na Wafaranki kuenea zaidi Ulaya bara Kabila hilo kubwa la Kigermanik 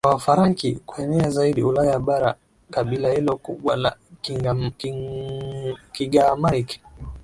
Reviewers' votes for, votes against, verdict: 0, 2, rejected